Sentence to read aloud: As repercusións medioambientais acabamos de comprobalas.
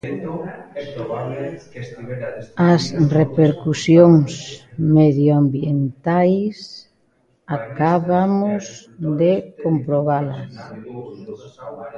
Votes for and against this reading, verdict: 0, 2, rejected